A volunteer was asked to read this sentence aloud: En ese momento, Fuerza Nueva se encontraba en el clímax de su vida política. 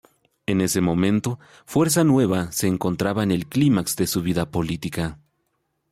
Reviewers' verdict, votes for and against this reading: accepted, 2, 0